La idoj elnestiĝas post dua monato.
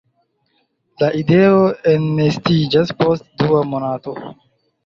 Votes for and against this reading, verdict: 1, 2, rejected